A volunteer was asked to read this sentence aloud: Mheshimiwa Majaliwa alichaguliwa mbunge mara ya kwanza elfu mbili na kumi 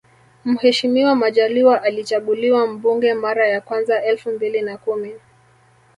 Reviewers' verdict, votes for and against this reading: rejected, 0, 2